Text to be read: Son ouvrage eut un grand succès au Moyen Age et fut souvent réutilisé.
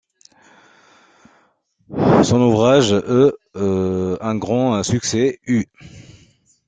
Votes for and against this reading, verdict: 0, 2, rejected